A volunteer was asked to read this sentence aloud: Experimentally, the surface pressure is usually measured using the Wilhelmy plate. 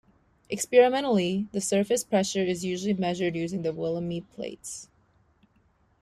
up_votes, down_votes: 2, 0